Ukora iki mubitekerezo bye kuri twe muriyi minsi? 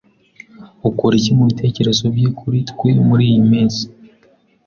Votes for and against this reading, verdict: 2, 0, accepted